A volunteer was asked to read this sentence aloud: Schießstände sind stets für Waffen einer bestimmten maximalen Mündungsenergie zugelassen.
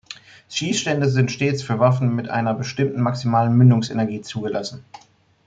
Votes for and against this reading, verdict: 1, 2, rejected